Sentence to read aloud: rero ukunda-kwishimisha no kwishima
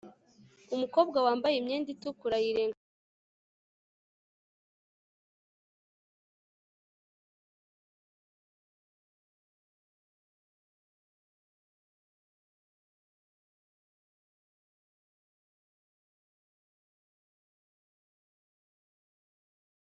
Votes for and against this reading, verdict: 0, 2, rejected